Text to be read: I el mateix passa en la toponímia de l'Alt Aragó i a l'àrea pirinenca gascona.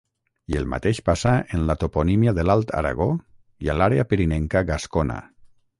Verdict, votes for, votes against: rejected, 0, 6